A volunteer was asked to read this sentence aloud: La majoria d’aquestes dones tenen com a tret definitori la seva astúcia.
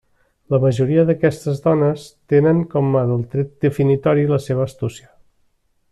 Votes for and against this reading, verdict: 0, 2, rejected